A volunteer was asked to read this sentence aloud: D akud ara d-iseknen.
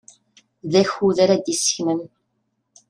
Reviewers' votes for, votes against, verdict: 2, 0, accepted